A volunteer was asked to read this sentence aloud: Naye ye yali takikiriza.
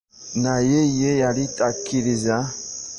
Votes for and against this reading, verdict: 0, 2, rejected